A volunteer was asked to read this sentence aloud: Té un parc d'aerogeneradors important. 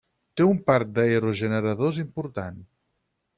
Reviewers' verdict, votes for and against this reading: accepted, 6, 0